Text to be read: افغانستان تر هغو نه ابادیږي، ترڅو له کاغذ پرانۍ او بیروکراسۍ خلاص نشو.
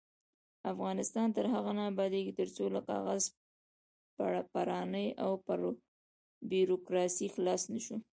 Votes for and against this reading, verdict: 1, 2, rejected